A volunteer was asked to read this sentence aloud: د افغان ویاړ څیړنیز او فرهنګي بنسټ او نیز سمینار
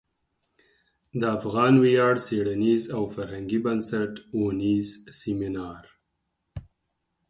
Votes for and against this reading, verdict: 4, 0, accepted